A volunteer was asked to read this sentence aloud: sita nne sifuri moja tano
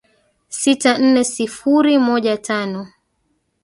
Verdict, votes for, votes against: rejected, 1, 2